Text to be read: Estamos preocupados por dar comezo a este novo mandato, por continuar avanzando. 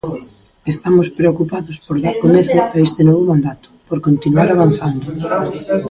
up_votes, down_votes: 1, 2